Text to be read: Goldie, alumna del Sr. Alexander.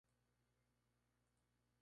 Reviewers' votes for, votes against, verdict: 0, 2, rejected